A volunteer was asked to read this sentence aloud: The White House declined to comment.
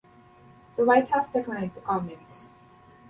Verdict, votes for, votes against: accepted, 2, 0